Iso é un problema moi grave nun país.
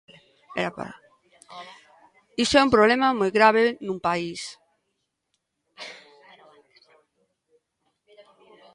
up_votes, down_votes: 1, 2